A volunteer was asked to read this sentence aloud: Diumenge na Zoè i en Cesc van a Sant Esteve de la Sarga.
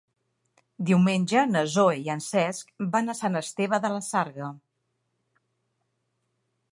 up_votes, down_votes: 1, 3